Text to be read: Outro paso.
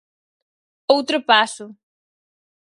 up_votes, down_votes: 4, 0